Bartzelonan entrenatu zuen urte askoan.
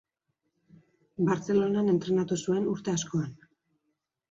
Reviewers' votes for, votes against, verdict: 2, 0, accepted